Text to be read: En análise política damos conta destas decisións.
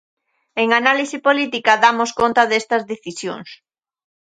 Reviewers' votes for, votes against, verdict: 2, 0, accepted